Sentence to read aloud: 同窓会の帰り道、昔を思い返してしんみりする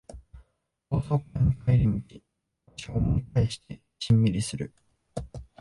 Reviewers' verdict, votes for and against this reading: rejected, 1, 2